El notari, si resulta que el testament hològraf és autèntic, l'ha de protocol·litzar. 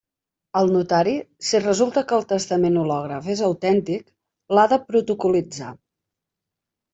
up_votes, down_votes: 2, 0